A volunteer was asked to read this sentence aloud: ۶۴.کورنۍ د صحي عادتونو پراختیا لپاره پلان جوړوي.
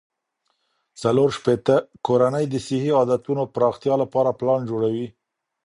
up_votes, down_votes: 0, 2